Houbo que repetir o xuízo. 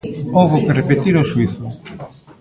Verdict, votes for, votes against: rejected, 1, 2